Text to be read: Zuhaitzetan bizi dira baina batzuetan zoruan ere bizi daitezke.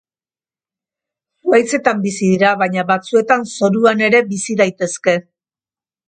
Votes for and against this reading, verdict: 3, 1, accepted